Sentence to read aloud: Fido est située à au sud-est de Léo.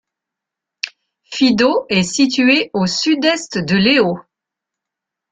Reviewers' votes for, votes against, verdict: 1, 2, rejected